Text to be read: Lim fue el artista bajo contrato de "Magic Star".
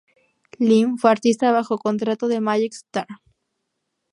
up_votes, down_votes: 0, 2